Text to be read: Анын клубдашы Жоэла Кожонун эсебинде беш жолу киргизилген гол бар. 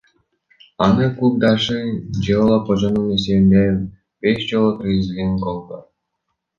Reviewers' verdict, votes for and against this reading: rejected, 0, 2